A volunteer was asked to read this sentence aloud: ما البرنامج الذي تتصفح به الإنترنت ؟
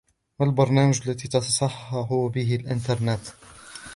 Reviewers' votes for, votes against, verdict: 0, 2, rejected